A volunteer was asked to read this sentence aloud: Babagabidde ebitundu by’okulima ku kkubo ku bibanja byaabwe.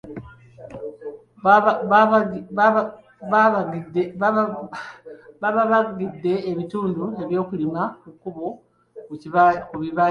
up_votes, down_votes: 0, 2